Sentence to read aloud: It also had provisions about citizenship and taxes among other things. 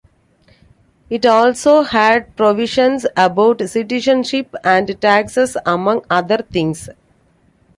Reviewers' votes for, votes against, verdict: 2, 0, accepted